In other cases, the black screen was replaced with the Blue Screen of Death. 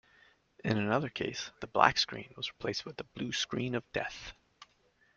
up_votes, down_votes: 0, 2